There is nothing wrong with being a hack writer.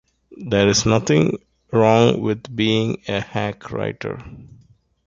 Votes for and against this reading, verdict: 2, 0, accepted